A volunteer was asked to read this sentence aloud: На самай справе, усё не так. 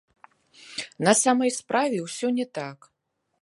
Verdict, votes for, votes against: accepted, 2, 0